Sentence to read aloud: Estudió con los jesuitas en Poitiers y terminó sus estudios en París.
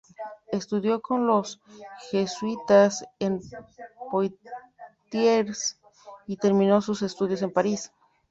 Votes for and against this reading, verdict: 2, 0, accepted